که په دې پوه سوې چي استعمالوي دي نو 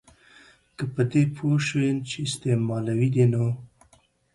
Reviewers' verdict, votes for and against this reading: accepted, 2, 0